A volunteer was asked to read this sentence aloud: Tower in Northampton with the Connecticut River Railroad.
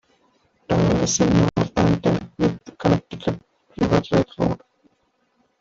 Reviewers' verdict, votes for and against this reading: rejected, 1, 2